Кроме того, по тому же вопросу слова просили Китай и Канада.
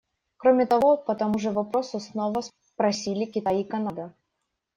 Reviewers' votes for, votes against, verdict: 0, 2, rejected